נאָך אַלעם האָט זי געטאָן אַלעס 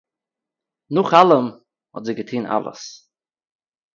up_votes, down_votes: 2, 0